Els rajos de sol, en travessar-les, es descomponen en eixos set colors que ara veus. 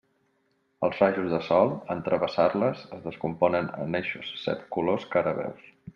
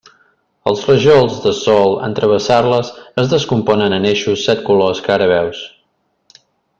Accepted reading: first